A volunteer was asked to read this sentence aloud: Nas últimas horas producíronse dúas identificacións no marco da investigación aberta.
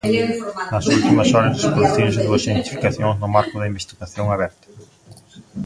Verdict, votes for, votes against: rejected, 0, 2